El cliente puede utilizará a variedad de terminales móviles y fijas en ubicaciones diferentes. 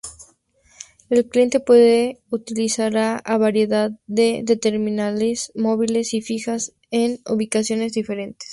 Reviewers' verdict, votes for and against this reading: rejected, 0, 2